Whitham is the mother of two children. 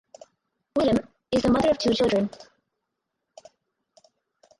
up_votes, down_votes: 2, 6